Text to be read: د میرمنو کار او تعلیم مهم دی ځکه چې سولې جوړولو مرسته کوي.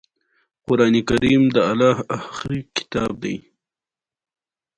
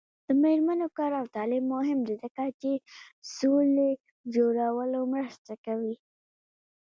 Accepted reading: second